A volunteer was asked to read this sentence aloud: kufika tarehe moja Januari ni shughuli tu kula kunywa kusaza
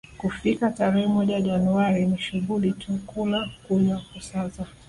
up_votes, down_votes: 2, 0